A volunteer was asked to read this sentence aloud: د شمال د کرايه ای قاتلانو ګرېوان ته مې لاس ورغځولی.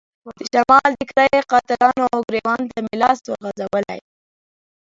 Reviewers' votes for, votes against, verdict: 1, 2, rejected